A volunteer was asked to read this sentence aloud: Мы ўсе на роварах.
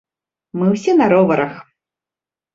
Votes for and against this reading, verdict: 2, 0, accepted